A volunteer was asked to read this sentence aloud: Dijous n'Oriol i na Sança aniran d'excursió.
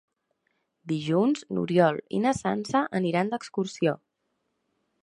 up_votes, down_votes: 0, 2